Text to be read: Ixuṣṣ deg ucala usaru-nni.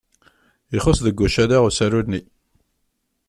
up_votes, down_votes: 2, 1